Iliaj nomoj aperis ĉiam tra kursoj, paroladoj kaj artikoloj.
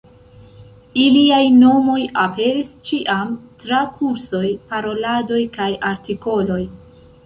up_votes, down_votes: 1, 2